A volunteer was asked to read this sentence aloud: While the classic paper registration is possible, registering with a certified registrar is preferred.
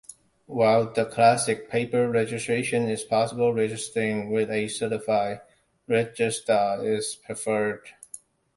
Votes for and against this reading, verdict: 2, 1, accepted